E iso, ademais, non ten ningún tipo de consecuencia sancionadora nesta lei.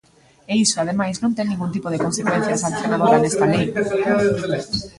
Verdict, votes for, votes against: rejected, 1, 2